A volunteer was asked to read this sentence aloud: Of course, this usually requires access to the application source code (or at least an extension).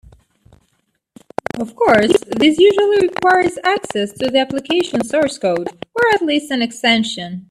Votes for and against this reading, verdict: 1, 2, rejected